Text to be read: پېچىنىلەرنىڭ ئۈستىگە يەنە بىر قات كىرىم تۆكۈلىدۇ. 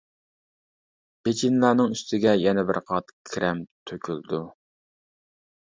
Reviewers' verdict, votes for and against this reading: rejected, 0, 2